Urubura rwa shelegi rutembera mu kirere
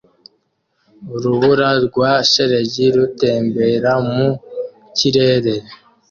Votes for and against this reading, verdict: 2, 1, accepted